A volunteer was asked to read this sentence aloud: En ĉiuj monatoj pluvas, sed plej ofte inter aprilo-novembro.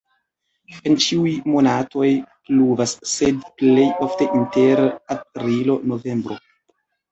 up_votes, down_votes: 0, 2